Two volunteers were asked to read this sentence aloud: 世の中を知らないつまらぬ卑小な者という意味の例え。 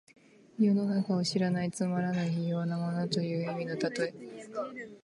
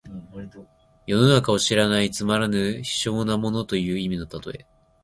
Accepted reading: second